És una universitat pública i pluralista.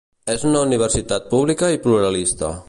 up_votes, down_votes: 2, 0